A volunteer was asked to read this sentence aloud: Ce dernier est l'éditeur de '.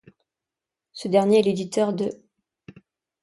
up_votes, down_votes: 2, 0